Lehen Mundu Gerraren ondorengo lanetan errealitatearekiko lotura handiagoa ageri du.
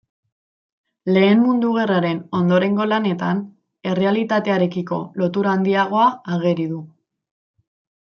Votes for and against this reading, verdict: 2, 0, accepted